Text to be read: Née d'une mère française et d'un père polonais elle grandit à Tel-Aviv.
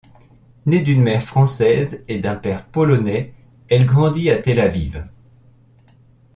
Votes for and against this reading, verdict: 2, 0, accepted